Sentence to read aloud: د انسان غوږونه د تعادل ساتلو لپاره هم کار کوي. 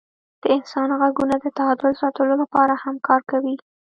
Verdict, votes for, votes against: rejected, 1, 2